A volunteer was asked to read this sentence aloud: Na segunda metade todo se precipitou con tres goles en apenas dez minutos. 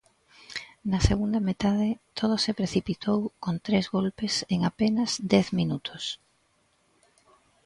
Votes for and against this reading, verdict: 2, 1, accepted